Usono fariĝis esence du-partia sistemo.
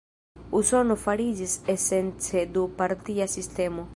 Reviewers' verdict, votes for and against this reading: accepted, 2, 0